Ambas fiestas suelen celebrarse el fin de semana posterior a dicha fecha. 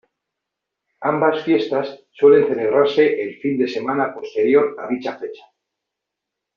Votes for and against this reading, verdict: 2, 1, accepted